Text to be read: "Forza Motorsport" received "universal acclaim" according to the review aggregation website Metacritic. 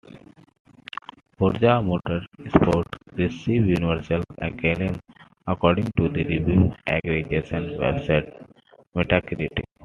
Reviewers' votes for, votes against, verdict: 2, 1, accepted